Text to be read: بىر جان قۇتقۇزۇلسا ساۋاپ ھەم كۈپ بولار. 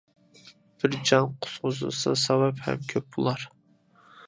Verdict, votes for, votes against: rejected, 1, 2